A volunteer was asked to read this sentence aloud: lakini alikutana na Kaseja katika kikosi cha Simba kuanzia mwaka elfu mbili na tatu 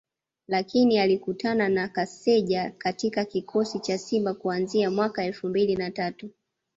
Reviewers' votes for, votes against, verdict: 2, 0, accepted